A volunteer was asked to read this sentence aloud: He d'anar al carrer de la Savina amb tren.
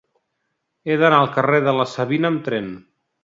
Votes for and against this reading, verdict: 2, 0, accepted